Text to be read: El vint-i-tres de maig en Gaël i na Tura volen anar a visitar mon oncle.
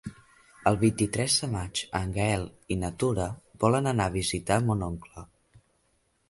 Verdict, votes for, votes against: accepted, 2, 0